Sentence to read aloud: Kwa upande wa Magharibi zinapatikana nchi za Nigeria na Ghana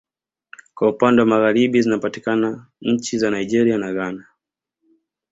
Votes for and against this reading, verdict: 2, 0, accepted